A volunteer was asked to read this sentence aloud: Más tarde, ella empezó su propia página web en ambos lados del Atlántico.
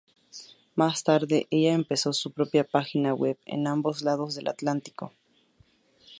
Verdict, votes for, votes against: accepted, 2, 0